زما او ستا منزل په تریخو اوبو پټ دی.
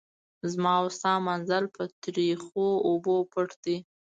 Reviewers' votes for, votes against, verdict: 2, 0, accepted